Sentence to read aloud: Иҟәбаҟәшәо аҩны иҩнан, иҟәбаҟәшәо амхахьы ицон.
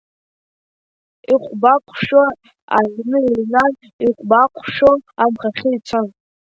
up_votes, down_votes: 3, 1